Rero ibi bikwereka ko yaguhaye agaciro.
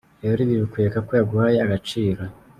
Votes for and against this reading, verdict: 2, 0, accepted